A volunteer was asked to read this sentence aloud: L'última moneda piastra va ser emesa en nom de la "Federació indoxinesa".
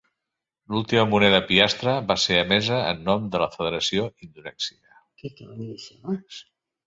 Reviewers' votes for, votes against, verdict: 0, 2, rejected